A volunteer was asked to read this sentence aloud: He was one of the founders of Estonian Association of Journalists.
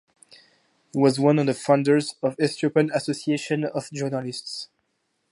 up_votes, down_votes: 0, 2